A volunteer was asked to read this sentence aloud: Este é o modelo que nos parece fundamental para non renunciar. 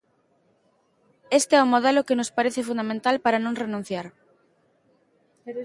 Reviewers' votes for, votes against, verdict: 1, 2, rejected